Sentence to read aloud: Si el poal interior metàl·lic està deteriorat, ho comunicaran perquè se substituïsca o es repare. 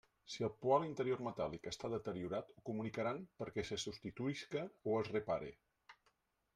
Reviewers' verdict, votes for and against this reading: rejected, 1, 2